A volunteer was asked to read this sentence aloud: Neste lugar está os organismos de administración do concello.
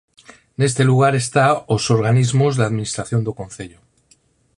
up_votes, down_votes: 0, 4